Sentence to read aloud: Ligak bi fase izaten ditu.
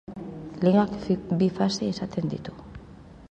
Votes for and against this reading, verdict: 1, 4, rejected